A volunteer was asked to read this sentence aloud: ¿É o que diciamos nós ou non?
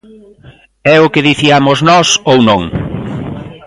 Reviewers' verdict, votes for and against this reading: accepted, 2, 0